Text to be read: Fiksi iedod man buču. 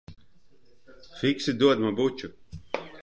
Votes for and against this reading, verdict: 0, 2, rejected